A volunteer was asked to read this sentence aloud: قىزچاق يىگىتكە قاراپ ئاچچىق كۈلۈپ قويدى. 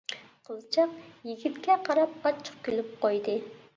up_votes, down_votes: 0, 2